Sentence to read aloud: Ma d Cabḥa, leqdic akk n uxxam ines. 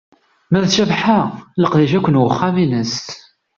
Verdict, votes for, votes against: accepted, 2, 0